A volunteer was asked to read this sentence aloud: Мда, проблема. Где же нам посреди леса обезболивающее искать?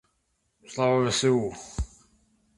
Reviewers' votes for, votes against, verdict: 0, 2, rejected